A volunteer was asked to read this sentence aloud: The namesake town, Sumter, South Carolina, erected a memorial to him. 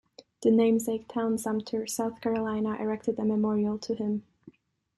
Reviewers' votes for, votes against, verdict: 2, 0, accepted